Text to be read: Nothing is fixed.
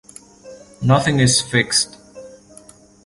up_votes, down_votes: 2, 0